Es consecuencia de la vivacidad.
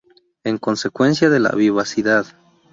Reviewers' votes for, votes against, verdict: 0, 2, rejected